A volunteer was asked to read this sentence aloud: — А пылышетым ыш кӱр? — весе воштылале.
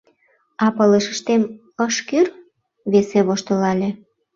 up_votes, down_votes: 1, 2